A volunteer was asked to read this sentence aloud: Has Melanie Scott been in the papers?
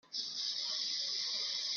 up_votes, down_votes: 0, 3